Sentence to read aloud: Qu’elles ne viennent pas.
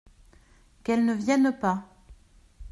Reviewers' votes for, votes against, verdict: 2, 0, accepted